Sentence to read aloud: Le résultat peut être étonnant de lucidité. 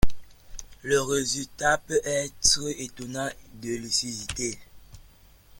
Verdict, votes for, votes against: accepted, 2, 0